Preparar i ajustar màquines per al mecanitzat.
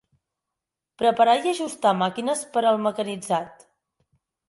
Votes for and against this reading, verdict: 4, 0, accepted